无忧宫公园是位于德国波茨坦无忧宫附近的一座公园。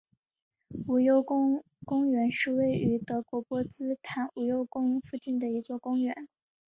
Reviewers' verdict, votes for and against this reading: accepted, 2, 0